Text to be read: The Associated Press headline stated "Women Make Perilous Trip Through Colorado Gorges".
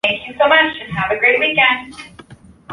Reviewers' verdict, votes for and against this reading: rejected, 1, 3